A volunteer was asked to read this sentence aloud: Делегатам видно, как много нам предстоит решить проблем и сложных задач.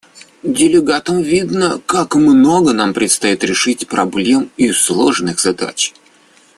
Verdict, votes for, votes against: accepted, 2, 0